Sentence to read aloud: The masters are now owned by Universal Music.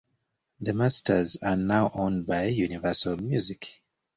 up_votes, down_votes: 2, 0